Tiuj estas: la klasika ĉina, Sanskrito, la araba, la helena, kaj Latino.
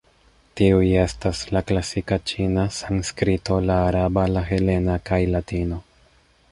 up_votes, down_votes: 0, 2